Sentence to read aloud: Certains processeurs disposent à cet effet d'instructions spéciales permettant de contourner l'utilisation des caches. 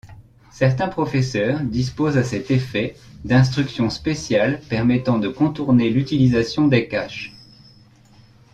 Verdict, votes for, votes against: rejected, 0, 2